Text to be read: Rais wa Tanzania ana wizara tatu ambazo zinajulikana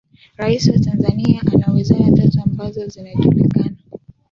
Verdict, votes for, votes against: accepted, 2, 0